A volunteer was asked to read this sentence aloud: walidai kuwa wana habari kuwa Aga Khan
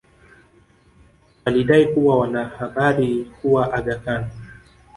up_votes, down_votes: 3, 2